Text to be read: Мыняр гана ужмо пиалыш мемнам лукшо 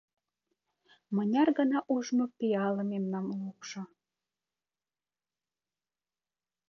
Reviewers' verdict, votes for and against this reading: rejected, 0, 2